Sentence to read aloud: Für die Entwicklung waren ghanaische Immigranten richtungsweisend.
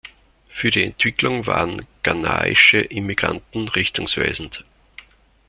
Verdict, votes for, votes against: accepted, 2, 0